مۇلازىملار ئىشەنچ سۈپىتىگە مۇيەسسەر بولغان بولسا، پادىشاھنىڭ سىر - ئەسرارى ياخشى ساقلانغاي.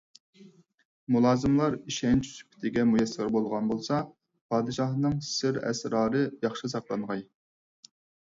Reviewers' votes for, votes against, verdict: 4, 0, accepted